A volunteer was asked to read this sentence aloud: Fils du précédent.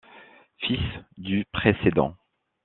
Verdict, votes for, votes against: accepted, 2, 0